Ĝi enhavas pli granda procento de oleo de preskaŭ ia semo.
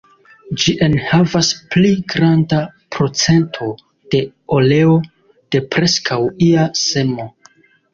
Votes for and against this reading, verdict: 2, 0, accepted